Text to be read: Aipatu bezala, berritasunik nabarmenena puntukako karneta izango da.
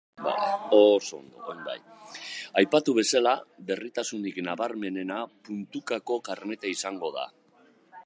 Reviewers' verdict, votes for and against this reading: rejected, 0, 2